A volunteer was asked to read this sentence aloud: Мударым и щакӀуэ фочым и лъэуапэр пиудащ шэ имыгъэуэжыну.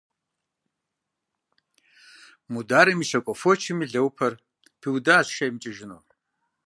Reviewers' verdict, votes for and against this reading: rejected, 0, 2